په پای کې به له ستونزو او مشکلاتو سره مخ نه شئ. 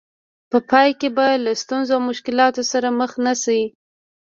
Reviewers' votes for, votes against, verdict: 2, 0, accepted